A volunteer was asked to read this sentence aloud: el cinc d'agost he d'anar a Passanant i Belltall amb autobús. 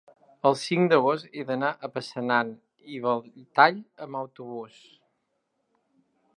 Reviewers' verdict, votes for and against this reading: rejected, 1, 2